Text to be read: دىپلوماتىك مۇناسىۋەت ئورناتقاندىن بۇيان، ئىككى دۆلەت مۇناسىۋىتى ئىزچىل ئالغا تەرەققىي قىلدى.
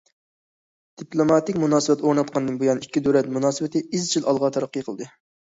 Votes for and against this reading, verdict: 2, 0, accepted